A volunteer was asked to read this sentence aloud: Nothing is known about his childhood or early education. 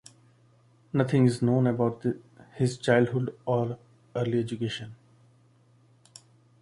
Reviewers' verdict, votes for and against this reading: rejected, 0, 2